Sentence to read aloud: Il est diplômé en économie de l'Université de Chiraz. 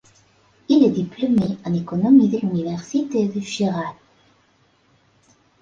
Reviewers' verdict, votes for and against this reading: accepted, 3, 1